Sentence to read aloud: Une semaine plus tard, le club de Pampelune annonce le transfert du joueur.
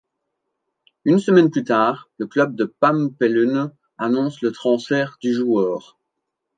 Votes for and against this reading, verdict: 1, 2, rejected